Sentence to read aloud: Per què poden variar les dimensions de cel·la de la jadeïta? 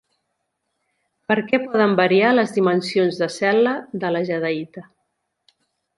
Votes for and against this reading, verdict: 2, 0, accepted